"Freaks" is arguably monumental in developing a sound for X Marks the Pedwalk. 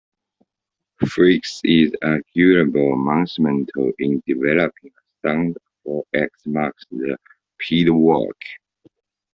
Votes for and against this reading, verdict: 0, 2, rejected